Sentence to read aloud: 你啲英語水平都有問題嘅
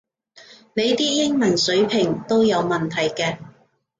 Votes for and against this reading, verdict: 0, 2, rejected